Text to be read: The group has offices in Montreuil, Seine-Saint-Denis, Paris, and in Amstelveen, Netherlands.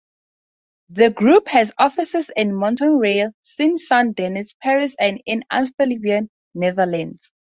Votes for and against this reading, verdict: 0, 2, rejected